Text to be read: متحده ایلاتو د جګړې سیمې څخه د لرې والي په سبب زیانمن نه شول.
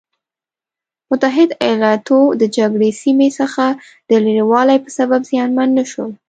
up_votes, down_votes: 2, 0